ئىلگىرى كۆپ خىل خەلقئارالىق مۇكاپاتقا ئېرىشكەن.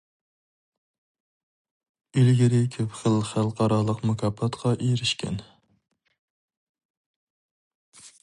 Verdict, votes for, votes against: accepted, 4, 0